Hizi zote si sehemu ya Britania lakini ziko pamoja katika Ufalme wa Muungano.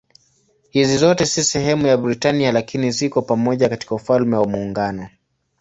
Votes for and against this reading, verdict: 2, 0, accepted